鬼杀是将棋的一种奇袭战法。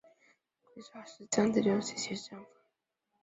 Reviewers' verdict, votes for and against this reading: rejected, 0, 3